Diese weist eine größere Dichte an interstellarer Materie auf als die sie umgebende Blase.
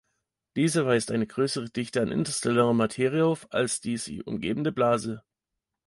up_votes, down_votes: 1, 2